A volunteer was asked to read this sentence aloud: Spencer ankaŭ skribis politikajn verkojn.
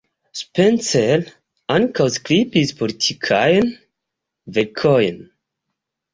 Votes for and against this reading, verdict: 2, 0, accepted